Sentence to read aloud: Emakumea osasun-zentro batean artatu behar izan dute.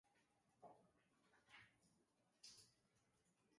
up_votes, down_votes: 0, 2